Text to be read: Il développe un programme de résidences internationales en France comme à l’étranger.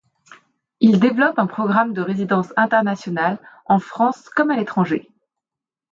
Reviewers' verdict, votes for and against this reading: accepted, 2, 0